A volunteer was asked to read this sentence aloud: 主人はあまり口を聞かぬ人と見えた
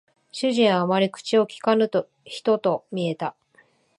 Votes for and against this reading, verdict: 1, 2, rejected